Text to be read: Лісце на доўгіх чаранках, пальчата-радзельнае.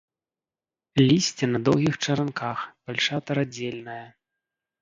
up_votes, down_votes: 0, 2